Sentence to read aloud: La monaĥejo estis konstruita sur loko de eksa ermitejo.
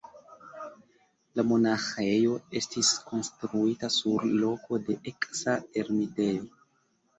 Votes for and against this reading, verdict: 2, 1, accepted